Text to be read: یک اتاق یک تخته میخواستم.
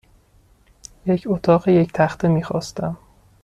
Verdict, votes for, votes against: accepted, 2, 0